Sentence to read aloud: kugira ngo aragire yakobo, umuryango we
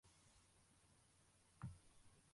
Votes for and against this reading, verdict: 0, 2, rejected